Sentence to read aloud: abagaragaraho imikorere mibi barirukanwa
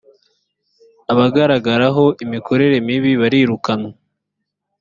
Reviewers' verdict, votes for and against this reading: accepted, 2, 0